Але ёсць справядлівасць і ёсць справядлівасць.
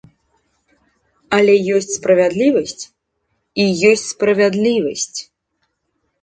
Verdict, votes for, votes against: accepted, 2, 0